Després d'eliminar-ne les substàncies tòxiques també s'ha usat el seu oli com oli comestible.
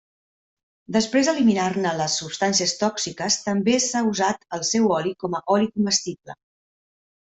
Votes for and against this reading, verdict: 1, 2, rejected